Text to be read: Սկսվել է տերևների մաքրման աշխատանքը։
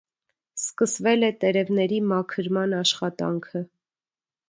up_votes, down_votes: 2, 0